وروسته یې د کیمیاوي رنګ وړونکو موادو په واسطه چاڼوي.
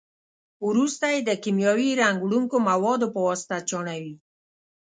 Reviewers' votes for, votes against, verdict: 2, 0, accepted